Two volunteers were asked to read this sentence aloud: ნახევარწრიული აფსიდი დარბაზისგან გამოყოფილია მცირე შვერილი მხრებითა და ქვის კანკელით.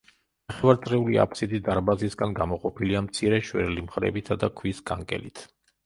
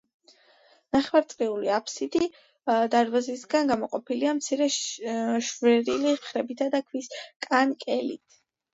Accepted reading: second